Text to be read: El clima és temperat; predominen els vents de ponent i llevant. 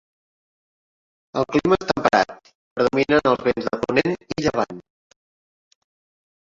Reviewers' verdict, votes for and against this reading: rejected, 0, 2